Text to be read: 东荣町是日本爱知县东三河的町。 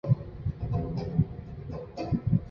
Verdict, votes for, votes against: rejected, 4, 6